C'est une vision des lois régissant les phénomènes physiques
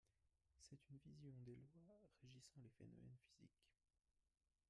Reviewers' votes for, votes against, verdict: 0, 2, rejected